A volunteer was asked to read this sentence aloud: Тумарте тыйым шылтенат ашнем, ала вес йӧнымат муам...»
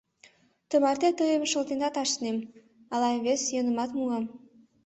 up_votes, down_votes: 0, 2